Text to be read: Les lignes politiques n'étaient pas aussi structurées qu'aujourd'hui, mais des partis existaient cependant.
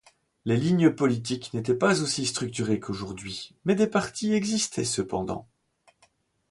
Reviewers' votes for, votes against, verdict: 2, 0, accepted